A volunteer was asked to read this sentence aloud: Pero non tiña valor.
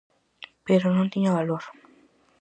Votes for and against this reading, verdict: 4, 0, accepted